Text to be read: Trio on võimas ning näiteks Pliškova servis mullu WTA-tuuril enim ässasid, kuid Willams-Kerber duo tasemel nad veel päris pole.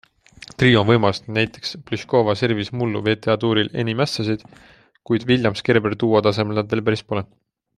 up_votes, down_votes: 2, 0